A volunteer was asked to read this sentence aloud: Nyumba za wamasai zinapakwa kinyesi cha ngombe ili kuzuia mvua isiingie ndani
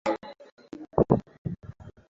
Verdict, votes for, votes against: rejected, 0, 2